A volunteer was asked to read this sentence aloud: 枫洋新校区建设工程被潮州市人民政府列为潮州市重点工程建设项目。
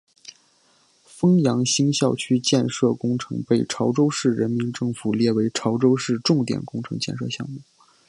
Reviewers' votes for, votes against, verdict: 2, 0, accepted